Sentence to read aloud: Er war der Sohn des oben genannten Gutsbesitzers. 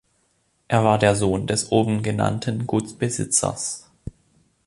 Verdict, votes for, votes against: accepted, 2, 0